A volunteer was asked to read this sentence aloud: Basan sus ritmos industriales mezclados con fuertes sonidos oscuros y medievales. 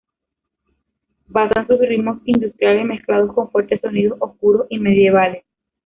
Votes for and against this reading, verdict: 0, 2, rejected